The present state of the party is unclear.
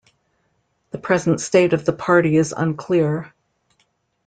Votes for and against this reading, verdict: 2, 0, accepted